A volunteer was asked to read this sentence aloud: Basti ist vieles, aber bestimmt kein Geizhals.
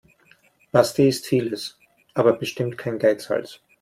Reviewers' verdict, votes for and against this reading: accepted, 2, 0